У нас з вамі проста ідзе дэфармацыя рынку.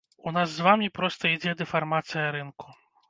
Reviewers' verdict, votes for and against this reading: accepted, 2, 0